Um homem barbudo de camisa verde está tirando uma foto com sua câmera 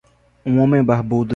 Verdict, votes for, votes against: rejected, 0, 2